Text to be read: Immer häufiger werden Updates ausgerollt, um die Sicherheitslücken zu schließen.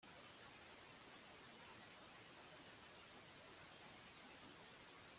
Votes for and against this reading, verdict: 0, 2, rejected